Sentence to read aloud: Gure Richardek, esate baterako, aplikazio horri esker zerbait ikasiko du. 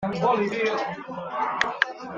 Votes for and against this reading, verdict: 0, 2, rejected